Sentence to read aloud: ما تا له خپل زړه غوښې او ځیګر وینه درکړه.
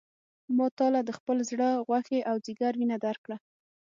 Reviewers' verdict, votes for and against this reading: accepted, 6, 0